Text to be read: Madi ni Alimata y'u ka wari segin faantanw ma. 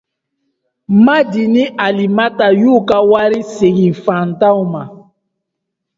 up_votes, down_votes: 2, 0